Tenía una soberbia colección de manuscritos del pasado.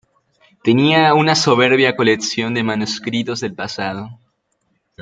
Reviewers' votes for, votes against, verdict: 2, 0, accepted